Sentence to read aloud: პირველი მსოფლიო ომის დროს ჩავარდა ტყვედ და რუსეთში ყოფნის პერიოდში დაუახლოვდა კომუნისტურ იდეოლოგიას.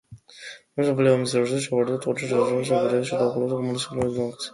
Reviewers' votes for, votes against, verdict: 1, 2, rejected